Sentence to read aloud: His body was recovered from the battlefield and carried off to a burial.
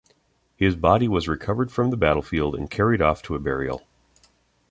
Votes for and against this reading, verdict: 2, 0, accepted